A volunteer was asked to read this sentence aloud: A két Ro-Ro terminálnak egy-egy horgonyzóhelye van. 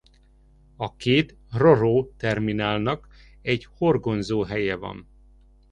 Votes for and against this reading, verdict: 1, 2, rejected